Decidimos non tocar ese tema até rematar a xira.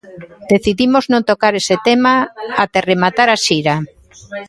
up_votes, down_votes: 2, 1